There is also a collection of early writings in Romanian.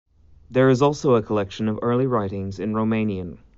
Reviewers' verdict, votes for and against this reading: accepted, 2, 0